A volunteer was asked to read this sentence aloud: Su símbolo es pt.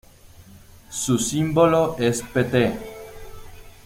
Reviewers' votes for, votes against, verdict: 2, 0, accepted